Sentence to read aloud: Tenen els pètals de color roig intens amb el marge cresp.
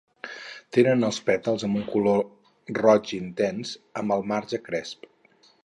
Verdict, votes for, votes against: rejected, 0, 6